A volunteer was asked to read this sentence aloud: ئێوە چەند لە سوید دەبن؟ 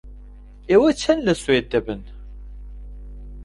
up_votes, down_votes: 2, 1